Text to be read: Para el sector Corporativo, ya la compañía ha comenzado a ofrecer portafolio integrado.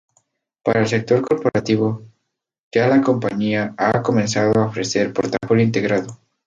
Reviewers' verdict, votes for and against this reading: rejected, 0, 2